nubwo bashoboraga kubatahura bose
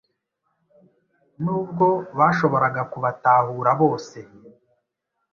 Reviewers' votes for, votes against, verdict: 2, 0, accepted